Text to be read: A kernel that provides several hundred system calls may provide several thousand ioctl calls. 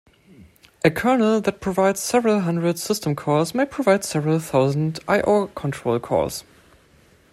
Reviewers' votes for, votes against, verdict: 0, 2, rejected